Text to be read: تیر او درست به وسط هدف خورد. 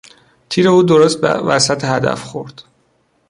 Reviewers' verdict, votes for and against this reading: rejected, 1, 2